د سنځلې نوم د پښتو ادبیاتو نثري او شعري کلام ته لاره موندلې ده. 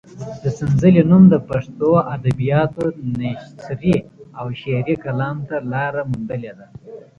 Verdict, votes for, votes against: accepted, 2, 0